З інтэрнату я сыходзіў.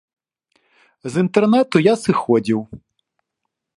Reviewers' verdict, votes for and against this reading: accepted, 2, 0